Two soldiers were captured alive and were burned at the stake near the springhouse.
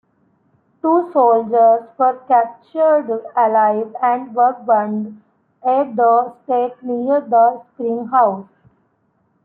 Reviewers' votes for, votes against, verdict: 1, 2, rejected